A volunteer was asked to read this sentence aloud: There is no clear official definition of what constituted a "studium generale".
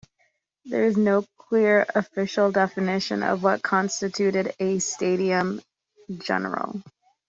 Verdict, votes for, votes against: accepted, 2, 1